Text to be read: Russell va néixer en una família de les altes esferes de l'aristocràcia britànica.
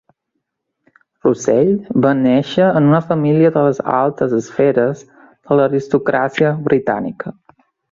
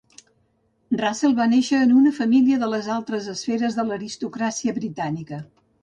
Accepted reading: first